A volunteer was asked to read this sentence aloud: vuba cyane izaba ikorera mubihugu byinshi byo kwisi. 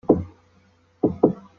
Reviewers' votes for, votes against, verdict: 0, 2, rejected